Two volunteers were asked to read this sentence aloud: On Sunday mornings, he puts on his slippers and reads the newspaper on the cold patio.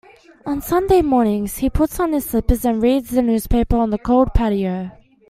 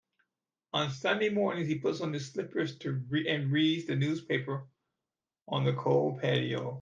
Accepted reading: first